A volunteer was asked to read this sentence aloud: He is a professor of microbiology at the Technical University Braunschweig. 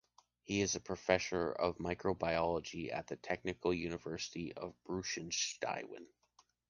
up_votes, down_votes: 0, 2